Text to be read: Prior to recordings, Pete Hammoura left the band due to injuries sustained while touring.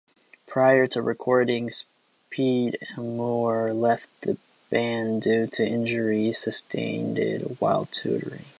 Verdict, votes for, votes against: accepted, 2, 0